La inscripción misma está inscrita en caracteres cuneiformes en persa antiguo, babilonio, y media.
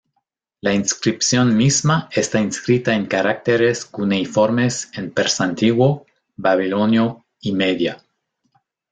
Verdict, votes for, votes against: rejected, 1, 2